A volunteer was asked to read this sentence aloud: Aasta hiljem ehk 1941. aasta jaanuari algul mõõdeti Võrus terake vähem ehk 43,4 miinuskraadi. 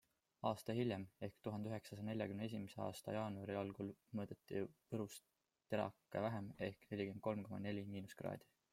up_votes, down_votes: 0, 2